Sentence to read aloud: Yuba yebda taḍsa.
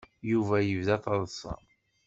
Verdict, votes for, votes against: accepted, 2, 0